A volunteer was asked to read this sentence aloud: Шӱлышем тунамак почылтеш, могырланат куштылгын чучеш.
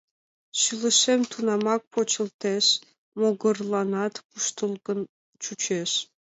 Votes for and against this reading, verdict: 3, 0, accepted